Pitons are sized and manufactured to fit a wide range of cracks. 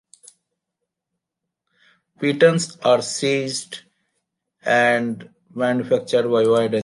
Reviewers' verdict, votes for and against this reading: rejected, 0, 2